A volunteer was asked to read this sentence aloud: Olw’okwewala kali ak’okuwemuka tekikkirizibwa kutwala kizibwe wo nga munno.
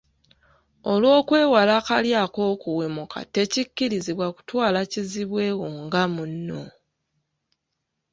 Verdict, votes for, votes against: accepted, 2, 0